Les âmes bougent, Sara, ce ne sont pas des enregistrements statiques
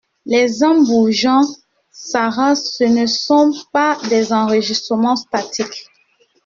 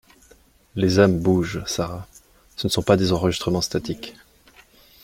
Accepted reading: second